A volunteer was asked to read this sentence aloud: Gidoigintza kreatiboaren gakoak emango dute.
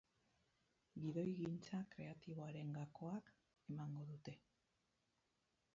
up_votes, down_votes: 4, 0